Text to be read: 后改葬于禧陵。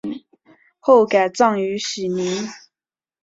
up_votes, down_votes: 6, 0